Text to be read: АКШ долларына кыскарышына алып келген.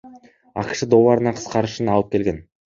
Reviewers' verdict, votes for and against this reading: accepted, 2, 0